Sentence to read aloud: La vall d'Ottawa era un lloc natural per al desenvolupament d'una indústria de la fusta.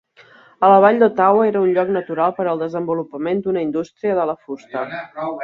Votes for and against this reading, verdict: 1, 3, rejected